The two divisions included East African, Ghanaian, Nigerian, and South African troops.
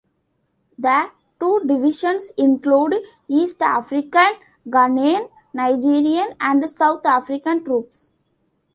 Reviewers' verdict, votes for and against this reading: accepted, 2, 1